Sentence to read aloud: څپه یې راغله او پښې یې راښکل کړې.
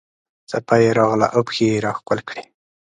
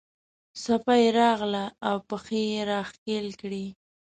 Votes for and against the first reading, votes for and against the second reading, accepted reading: 2, 0, 1, 2, first